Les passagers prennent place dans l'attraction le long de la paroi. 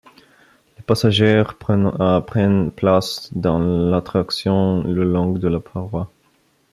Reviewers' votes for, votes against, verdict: 0, 2, rejected